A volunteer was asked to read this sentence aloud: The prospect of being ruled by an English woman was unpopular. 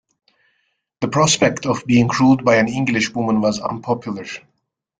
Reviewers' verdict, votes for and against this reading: accepted, 2, 0